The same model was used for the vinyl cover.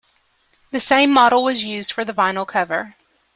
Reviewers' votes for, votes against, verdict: 3, 0, accepted